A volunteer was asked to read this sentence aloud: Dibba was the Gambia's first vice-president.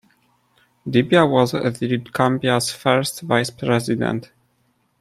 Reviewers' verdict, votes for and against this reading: rejected, 0, 2